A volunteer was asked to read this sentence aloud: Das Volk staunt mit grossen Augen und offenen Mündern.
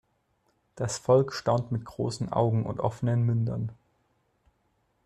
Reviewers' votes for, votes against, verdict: 2, 0, accepted